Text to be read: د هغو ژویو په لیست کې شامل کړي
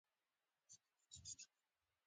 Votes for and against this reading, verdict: 2, 1, accepted